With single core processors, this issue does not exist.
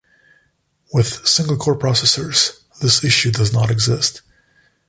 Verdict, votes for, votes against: accepted, 2, 0